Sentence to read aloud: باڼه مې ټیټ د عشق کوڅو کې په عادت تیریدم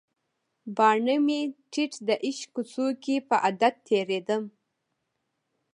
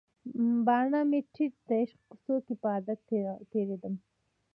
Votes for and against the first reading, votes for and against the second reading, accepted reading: 1, 2, 2, 0, second